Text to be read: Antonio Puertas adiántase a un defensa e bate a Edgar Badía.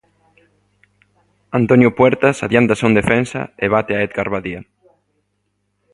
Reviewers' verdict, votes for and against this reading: rejected, 1, 2